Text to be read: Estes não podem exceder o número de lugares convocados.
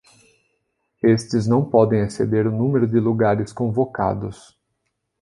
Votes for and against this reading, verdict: 2, 0, accepted